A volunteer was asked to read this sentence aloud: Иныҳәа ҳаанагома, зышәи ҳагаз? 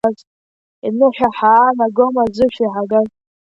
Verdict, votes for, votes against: accepted, 2, 1